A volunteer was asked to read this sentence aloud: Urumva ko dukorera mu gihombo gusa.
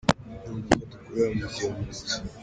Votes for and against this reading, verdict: 1, 3, rejected